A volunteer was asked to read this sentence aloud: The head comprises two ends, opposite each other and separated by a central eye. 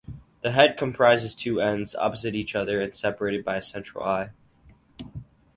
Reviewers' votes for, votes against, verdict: 4, 0, accepted